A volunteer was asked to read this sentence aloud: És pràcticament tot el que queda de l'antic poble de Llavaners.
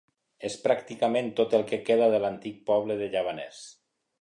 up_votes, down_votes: 2, 0